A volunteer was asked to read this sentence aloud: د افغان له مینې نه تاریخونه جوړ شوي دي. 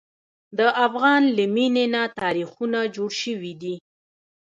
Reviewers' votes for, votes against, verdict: 2, 1, accepted